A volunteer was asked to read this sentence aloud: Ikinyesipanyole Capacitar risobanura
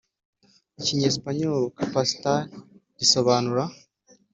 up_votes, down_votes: 3, 0